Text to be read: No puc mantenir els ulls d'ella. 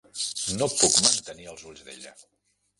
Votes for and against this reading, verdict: 1, 2, rejected